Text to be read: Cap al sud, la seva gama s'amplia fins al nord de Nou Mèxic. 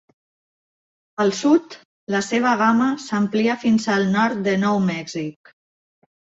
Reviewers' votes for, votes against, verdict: 0, 2, rejected